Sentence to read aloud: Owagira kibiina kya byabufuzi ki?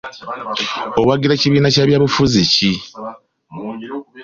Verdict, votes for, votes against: accepted, 2, 1